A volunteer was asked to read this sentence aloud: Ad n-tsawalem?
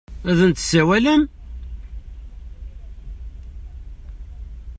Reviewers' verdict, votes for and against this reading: accepted, 2, 1